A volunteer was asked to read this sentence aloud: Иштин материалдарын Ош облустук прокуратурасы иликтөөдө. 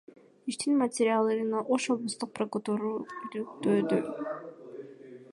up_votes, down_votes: 0, 2